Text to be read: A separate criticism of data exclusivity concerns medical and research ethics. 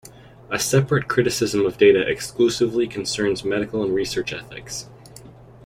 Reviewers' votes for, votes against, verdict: 0, 2, rejected